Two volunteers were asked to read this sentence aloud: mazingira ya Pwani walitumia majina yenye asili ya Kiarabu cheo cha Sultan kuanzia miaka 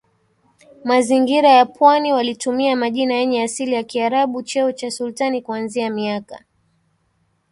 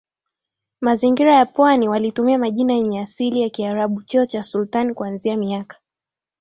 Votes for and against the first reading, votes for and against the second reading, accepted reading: 1, 2, 2, 0, second